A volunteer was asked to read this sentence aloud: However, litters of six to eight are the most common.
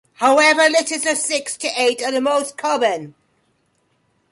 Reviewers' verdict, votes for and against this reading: accepted, 2, 1